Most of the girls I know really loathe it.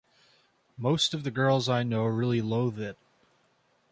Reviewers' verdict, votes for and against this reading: accepted, 2, 0